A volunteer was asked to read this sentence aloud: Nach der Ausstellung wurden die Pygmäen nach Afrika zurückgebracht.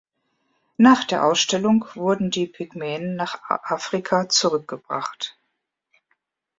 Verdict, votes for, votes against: rejected, 1, 3